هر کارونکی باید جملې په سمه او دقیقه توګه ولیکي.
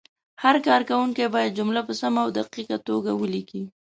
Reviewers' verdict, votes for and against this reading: accepted, 2, 0